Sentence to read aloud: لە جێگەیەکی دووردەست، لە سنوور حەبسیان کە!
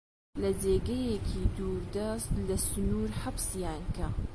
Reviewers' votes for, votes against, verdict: 2, 0, accepted